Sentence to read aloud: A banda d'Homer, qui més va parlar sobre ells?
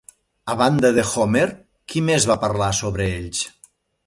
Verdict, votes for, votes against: rejected, 1, 2